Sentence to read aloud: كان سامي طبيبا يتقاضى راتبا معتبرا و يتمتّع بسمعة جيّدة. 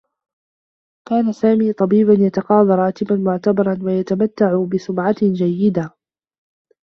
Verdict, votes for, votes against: accepted, 2, 1